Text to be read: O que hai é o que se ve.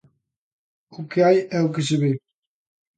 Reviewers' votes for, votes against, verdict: 2, 0, accepted